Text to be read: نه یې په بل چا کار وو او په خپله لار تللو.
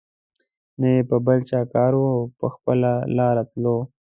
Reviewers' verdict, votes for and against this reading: accepted, 2, 0